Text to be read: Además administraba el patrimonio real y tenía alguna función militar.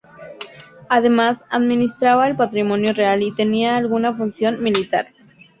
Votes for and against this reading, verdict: 2, 0, accepted